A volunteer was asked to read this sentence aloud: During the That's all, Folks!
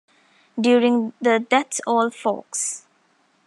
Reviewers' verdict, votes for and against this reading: accepted, 2, 0